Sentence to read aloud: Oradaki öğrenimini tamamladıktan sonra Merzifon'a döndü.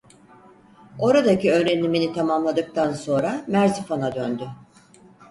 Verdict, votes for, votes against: accepted, 4, 0